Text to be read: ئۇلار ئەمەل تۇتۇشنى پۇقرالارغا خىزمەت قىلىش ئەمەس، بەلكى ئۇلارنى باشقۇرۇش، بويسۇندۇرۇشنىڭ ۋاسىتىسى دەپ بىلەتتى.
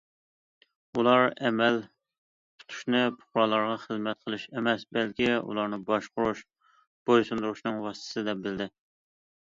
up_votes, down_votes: 0, 2